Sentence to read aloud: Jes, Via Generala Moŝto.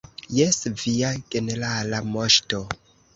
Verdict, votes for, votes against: rejected, 0, 2